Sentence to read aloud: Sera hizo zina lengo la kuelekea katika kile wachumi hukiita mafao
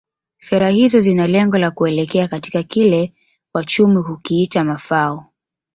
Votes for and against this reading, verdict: 4, 1, accepted